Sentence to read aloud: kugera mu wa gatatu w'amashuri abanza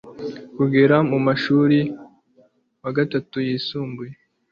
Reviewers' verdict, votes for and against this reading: rejected, 0, 2